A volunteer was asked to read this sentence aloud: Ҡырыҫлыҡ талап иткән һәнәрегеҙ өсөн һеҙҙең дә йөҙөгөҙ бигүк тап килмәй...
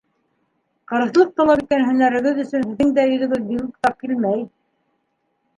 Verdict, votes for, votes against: accepted, 2, 1